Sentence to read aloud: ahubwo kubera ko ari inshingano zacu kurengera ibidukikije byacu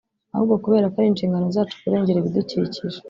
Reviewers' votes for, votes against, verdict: 0, 2, rejected